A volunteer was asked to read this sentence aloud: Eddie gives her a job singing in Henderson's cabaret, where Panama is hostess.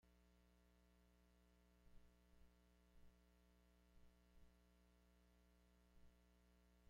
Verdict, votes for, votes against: rejected, 0, 2